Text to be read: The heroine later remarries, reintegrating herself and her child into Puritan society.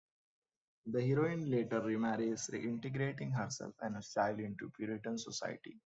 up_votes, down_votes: 1, 2